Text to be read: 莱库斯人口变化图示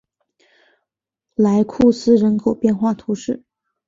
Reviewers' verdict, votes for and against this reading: accepted, 3, 1